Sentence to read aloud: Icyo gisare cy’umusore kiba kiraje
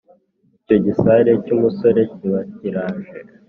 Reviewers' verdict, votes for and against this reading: accepted, 3, 0